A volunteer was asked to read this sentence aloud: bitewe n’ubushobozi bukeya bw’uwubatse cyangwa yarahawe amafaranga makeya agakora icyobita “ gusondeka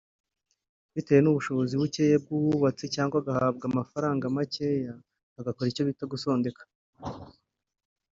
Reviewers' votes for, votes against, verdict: 2, 3, rejected